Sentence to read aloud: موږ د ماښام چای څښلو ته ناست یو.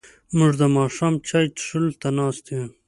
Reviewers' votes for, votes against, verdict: 2, 0, accepted